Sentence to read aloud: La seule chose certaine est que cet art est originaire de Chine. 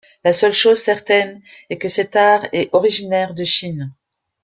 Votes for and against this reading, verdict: 2, 1, accepted